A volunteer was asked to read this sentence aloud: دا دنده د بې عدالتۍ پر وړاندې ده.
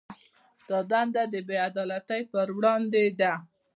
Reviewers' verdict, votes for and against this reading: accepted, 2, 0